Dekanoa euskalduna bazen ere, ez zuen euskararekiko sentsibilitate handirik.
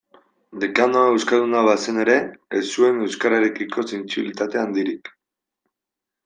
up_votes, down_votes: 2, 0